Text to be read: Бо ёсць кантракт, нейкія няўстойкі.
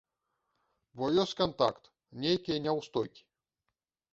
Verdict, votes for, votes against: rejected, 1, 2